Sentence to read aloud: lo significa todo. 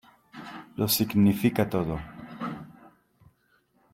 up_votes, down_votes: 2, 1